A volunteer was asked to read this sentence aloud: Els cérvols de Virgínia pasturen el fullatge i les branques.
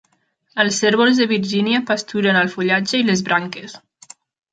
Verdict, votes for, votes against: accepted, 3, 0